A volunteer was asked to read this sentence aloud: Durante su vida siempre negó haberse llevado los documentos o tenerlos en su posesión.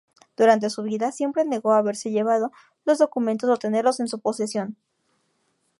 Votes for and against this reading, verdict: 4, 0, accepted